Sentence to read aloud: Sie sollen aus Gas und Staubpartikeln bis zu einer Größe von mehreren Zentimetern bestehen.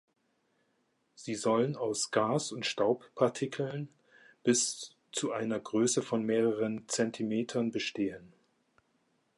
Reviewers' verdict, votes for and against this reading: accepted, 2, 1